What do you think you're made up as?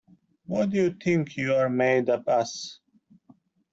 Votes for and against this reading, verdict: 2, 0, accepted